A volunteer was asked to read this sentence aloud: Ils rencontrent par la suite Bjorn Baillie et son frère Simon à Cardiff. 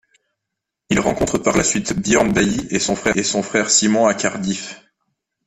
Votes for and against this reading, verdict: 0, 2, rejected